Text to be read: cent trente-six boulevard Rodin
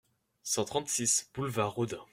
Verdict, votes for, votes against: accepted, 2, 0